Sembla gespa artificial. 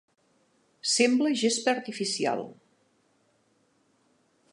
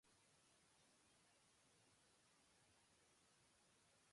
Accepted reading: first